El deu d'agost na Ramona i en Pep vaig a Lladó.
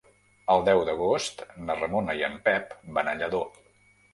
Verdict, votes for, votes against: rejected, 1, 2